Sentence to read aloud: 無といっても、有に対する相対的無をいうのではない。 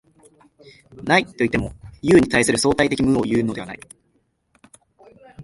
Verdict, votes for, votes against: rejected, 0, 2